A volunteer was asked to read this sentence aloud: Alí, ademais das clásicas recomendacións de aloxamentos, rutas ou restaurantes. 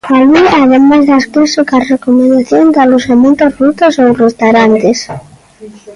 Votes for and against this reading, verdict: 0, 2, rejected